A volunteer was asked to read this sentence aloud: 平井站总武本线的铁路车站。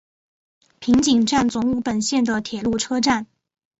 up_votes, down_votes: 3, 0